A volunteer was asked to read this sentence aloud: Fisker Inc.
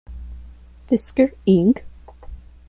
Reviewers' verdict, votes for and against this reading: accepted, 2, 0